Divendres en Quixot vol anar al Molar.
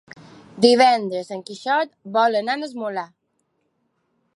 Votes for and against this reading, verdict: 1, 2, rejected